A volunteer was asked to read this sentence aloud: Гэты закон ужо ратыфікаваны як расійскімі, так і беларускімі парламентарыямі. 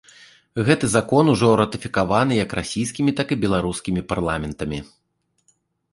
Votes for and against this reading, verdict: 0, 2, rejected